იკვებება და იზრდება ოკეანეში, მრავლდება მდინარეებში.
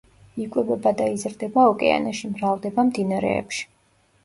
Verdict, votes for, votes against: accepted, 2, 0